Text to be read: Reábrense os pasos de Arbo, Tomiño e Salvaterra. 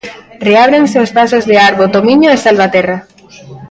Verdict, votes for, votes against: rejected, 1, 2